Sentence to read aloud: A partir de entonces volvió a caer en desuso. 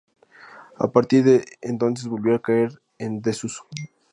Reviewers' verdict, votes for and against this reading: accepted, 2, 0